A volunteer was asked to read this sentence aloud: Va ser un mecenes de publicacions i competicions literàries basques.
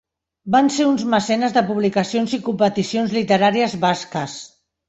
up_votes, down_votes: 1, 2